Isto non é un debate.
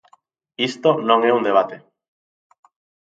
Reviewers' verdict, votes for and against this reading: accepted, 2, 0